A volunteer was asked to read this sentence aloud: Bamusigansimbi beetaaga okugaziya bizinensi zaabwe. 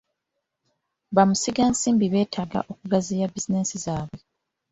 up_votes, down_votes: 2, 0